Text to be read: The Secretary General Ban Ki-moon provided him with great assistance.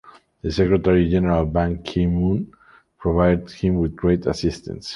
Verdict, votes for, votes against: accepted, 2, 1